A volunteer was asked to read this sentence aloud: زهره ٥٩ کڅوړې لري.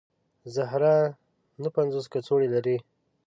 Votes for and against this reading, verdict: 0, 2, rejected